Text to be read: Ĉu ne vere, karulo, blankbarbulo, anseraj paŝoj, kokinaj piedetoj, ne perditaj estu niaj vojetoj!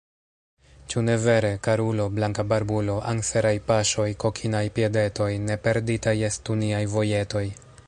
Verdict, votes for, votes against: rejected, 1, 2